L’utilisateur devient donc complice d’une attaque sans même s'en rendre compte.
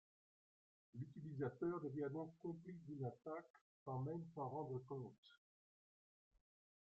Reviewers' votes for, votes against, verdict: 1, 2, rejected